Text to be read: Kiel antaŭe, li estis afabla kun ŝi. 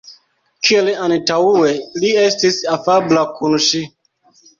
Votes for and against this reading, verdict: 2, 1, accepted